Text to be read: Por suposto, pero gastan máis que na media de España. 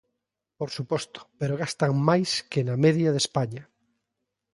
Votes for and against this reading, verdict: 2, 0, accepted